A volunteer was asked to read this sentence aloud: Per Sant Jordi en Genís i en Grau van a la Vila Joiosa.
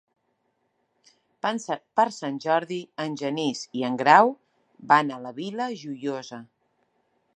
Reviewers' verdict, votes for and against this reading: rejected, 1, 2